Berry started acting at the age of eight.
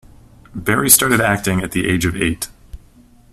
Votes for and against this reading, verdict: 2, 0, accepted